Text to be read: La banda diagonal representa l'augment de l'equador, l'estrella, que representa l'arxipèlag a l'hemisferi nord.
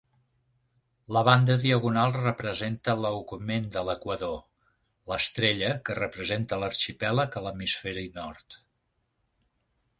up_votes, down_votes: 2, 0